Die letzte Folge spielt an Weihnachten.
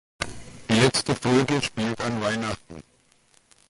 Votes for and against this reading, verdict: 2, 0, accepted